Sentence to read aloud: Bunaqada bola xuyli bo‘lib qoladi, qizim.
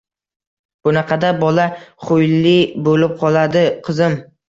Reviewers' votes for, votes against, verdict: 2, 0, accepted